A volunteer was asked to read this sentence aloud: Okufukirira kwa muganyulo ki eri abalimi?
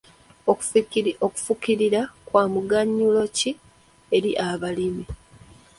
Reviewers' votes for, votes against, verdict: 0, 2, rejected